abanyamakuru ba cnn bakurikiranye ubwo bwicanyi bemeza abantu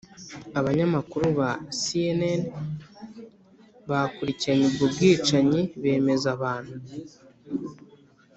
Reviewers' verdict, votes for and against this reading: accepted, 2, 0